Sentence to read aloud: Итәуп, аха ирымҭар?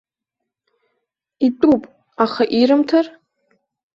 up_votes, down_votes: 2, 0